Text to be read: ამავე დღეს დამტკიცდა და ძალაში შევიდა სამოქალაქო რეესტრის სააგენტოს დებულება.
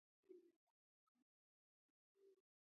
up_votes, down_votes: 0, 2